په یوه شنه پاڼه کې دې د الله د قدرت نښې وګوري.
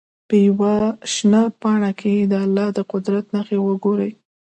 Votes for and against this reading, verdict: 2, 0, accepted